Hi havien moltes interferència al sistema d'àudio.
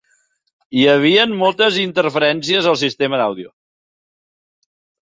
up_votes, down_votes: 2, 0